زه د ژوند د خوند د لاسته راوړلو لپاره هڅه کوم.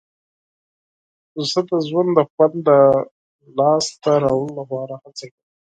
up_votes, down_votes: 2, 4